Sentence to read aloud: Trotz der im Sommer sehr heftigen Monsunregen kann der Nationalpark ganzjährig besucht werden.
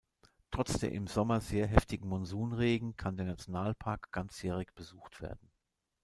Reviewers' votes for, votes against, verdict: 2, 0, accepted